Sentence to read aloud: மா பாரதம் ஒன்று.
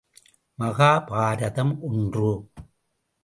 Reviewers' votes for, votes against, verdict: 0, 2, rejected